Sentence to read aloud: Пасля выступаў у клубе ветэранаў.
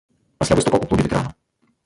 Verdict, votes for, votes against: rejected, 0, 2